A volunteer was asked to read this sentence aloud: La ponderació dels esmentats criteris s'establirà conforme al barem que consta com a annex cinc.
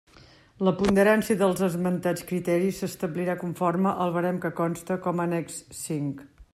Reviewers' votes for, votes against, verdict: 0, 2, rejected